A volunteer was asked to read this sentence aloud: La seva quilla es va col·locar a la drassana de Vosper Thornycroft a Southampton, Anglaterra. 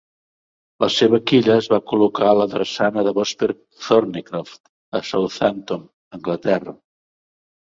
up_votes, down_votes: 2, 0